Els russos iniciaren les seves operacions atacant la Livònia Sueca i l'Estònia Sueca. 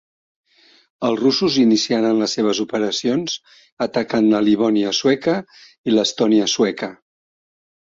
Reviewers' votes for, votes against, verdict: 5, 0, accepted